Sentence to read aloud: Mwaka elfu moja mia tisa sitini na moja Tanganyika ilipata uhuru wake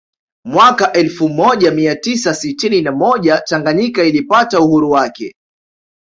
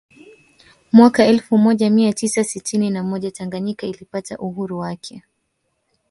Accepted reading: first